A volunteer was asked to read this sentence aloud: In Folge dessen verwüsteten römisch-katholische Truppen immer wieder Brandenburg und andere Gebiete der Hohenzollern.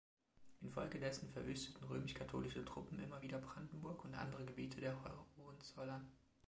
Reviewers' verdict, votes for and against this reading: rejected, 1, 2